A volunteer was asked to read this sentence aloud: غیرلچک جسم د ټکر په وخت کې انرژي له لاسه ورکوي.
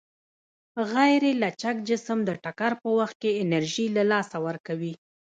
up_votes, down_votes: 2, 1